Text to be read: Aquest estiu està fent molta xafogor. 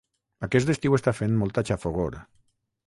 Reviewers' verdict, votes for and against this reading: rejected, 3, 3